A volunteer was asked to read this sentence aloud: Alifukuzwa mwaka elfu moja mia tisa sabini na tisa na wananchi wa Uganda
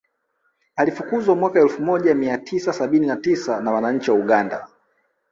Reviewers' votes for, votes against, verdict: 1, 2, rejected